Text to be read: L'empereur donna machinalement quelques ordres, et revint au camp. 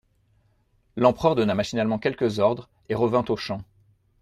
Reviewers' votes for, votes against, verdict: 0, 2, rejected